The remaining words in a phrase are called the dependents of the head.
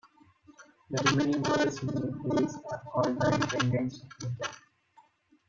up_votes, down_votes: 0, 3